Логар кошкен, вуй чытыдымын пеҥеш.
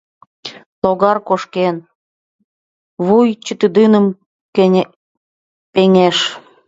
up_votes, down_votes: 0, 2